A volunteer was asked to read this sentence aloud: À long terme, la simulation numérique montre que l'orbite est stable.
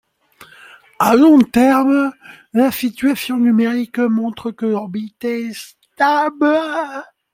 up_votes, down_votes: 0, 2